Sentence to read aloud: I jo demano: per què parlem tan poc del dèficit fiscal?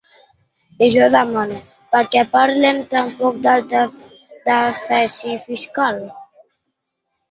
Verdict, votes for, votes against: rejected, 0, 2